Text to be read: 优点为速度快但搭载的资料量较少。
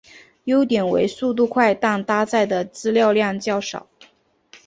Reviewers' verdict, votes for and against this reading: accepted, 3, 0